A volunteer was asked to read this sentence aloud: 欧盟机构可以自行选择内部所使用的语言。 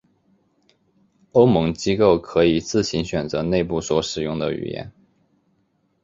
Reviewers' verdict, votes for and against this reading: accepted, 4, 0